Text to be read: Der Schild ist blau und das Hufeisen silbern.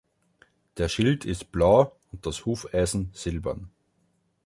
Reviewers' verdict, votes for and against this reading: accepted, 2, 0